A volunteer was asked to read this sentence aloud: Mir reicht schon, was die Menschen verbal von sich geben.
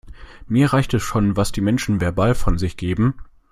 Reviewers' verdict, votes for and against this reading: rejected, 1, 2